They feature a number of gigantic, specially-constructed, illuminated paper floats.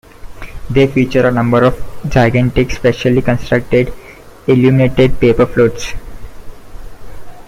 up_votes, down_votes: 2, 0